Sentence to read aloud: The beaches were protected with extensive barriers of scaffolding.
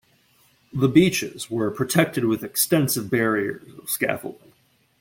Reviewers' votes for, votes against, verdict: 0, 2, rejected